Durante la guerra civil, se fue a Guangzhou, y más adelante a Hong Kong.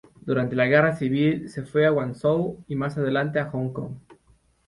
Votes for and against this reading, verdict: 2, 0, accepted